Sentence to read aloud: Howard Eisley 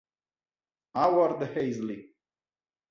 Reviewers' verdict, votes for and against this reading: rejected, 1, 2